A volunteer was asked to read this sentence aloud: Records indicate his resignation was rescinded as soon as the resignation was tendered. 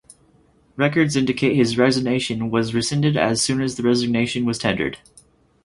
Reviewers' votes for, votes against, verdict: 0, 2, rejected